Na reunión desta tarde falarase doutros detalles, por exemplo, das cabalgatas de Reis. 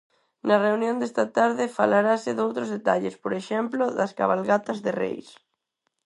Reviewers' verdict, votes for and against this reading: accepted, 4, 0